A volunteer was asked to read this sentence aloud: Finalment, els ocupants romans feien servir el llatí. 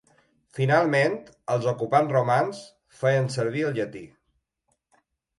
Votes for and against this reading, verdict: 3, 0, accepted